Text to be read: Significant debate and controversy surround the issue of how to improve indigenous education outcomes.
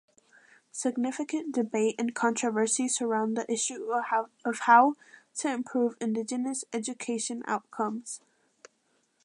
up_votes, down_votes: 0, 2